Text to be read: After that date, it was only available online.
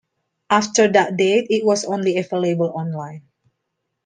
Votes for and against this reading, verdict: 2, 0, accepted